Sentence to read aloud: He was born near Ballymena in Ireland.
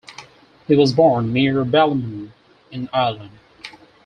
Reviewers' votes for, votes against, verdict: 4, 0, accepted